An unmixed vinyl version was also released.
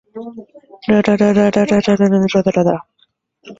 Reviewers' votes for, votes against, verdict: 0, 2, rejected